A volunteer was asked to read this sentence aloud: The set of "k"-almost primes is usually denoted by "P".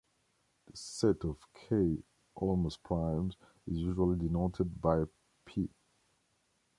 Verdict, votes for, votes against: rejected, 0, 2